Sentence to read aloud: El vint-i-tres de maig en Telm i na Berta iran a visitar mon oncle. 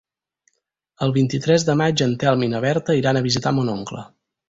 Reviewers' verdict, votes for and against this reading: accepted, 4, 0